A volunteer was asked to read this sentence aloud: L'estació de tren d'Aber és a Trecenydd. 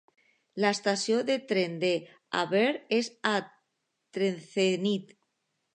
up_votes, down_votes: 1, 3